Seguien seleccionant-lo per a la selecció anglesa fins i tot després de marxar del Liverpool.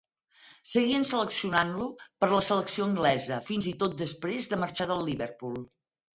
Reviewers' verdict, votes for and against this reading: rejected, 2, 4